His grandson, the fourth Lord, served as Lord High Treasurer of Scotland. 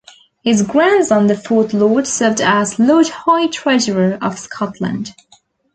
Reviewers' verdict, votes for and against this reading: accepted, 2, 1